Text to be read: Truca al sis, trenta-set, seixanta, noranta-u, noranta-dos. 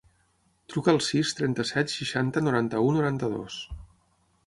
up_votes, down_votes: 6, 0